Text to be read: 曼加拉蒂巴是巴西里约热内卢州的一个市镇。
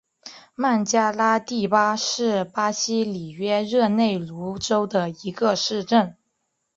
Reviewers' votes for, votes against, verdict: 3, 1, accepted